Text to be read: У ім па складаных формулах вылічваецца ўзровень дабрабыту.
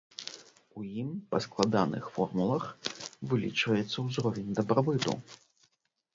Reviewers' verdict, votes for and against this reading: rejected, 1, 2